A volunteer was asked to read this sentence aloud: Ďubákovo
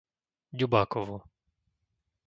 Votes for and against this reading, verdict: 2, 0, accepted